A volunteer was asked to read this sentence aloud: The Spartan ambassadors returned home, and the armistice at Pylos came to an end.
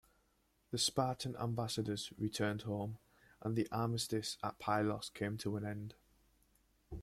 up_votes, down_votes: 2, 0